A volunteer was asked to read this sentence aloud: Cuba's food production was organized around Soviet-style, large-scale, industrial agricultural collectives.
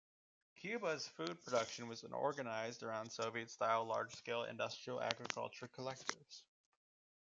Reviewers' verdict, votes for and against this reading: accepted, 2, 1